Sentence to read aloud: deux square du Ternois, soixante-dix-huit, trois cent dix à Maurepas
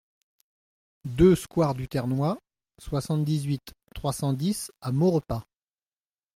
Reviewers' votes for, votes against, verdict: 2, 0, accepted